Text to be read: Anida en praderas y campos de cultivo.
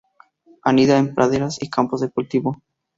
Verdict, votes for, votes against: accepted, 2, 0